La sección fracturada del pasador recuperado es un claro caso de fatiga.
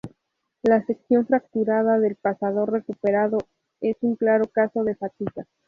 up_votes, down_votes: 0, 2